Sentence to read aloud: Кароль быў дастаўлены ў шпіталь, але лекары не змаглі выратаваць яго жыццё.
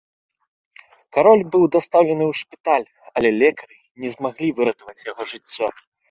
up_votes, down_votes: 3, 0